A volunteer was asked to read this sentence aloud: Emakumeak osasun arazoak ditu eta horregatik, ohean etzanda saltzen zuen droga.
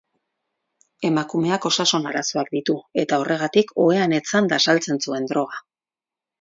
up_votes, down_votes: 4, 0